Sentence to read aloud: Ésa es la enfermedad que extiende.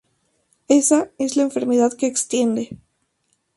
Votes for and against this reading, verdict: 2, 0, accepted